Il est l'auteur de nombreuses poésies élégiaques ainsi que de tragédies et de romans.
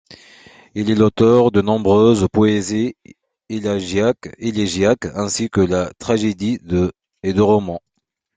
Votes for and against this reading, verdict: 1, 2, rejected